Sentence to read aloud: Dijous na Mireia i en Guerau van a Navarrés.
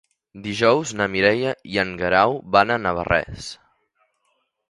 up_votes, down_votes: 5, 0